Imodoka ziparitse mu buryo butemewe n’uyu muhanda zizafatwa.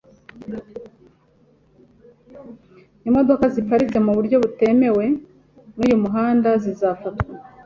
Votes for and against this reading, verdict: 2, 0, accepted